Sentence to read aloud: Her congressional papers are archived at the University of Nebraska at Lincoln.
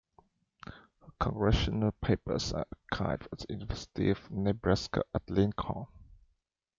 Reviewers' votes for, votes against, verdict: 0, 2, rejected